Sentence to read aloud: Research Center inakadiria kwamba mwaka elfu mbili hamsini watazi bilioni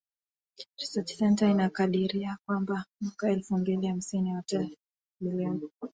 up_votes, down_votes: 1, 4